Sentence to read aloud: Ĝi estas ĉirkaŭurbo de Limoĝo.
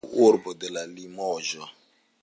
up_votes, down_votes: 1, 2